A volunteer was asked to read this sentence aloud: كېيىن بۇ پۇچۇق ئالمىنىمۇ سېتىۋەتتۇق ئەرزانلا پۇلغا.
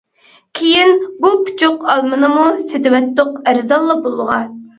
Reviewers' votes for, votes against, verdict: 0, 2, rejected